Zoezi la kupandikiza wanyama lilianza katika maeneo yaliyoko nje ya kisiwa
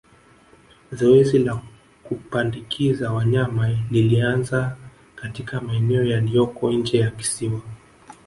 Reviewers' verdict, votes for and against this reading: rejected, 1, 2